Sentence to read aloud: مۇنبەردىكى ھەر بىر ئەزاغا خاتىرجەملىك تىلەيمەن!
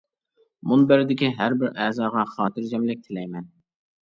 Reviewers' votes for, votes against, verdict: 2, 0, accepted